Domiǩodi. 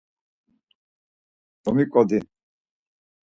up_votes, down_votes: 4, 0